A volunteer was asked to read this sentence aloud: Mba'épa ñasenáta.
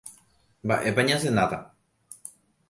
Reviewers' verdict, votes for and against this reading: accepted, 2, 0